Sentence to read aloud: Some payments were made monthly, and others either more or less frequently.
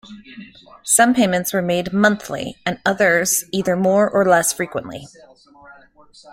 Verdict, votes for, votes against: accepted, 2, 0